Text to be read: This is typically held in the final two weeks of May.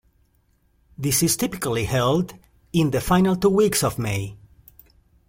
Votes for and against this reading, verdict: 2, 0, accepted